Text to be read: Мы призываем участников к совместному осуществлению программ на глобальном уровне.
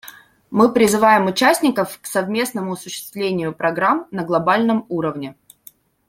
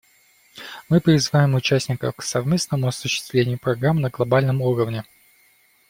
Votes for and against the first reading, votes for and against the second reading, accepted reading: 2, 0, 1, 2, first